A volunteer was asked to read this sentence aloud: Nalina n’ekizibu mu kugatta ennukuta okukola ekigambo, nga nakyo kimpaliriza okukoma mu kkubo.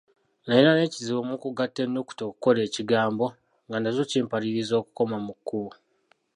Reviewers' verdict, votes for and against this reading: rejected, 0, 2